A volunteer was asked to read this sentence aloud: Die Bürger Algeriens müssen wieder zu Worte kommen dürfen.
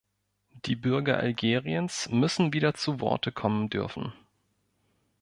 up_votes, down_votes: 2, 0